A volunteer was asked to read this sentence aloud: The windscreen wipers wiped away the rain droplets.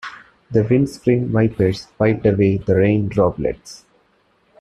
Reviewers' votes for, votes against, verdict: 2, 1, accepted